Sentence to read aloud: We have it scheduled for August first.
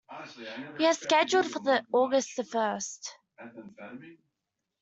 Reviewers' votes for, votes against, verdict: 0, 2, rejected